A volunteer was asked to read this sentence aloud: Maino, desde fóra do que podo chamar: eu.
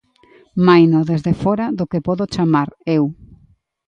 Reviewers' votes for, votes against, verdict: 2, 0, accepted